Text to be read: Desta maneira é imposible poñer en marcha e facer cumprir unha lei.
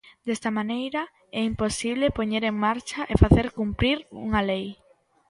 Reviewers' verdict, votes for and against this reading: accepted, 2, 0